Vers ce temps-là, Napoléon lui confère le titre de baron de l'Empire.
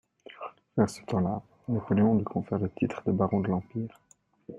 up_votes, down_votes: 0, 2